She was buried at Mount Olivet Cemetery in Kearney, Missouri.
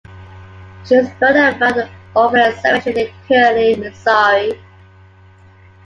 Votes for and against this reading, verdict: 0, 2, rejected